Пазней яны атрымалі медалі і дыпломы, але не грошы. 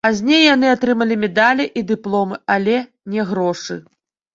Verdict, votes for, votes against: rejected, 0, 2